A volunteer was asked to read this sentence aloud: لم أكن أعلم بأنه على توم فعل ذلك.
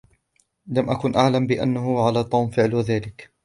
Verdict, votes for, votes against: accepted, 2, 0